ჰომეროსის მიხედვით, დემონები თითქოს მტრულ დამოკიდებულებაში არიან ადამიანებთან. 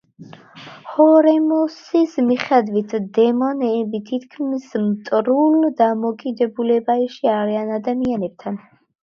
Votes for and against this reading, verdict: 0, 2, rejected